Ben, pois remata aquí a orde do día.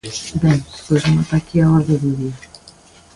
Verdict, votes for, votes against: rejected, 1, 2